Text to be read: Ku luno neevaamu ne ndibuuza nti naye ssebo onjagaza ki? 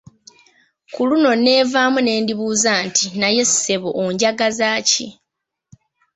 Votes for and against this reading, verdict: 2, 0, accepted